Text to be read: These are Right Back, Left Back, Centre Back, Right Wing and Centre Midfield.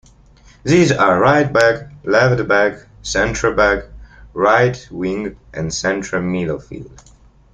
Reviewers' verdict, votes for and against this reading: accepted, 2, 0